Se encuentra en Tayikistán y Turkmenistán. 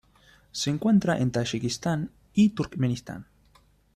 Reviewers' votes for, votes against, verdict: 2, 0, accepted